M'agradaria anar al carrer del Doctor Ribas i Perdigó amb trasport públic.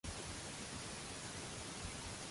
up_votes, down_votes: 0, 2